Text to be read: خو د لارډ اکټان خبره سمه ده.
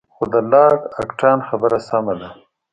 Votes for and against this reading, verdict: 2, 0, accepted